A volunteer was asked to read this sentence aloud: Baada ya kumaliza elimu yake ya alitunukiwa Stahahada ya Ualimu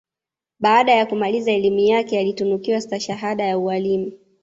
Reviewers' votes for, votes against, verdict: 2, 1, accepted